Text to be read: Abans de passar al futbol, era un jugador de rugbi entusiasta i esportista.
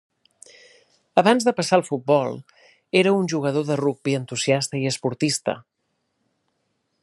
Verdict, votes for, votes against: accepted, 3, 0